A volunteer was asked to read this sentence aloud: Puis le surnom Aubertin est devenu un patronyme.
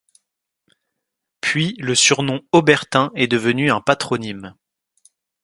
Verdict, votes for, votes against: accepted, 3, 0